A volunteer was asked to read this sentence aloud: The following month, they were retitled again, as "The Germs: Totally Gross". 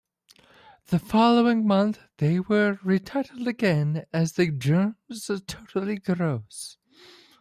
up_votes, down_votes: 0, 2